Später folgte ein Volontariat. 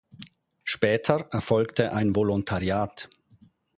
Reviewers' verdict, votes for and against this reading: rejected, 2, 4